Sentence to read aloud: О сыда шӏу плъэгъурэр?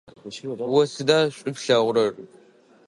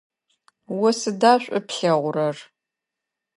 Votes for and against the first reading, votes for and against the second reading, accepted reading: 1, 2, 2, 0, second